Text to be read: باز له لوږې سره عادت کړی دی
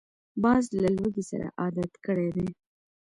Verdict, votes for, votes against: accepted, 2, 0